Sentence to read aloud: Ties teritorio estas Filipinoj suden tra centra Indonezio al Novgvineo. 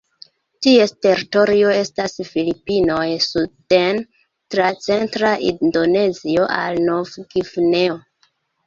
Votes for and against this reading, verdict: 2, 0, accepted